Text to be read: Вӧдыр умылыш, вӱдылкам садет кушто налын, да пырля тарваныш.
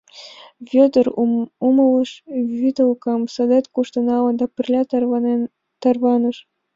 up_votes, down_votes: 2, 1